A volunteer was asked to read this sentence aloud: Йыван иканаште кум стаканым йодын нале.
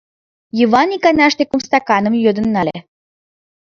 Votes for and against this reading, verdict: 2, 1, accepted